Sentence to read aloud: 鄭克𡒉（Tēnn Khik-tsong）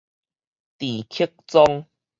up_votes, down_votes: 4, 0